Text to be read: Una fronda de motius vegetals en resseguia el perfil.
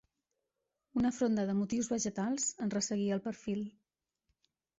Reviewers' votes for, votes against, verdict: 2, 1, accepted